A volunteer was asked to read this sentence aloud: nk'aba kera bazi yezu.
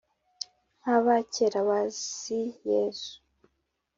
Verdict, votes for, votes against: accepted, 2, 0